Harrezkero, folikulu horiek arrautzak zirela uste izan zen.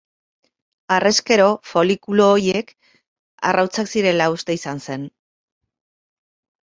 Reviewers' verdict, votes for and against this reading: rejected, 2, 2